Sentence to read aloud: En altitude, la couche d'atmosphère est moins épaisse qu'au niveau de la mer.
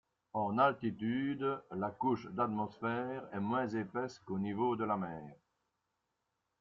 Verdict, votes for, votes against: accepted, 2, 0